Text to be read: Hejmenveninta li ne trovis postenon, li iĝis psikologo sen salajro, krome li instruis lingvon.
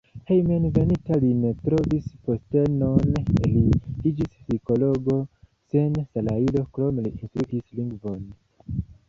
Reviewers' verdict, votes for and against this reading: accepted, 2, 0